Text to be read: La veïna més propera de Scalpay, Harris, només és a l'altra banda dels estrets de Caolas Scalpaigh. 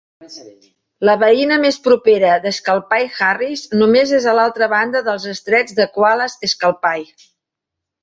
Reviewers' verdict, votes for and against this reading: rejected, 0, 2